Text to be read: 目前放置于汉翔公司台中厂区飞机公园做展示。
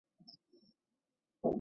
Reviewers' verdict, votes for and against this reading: rejected, 0, 2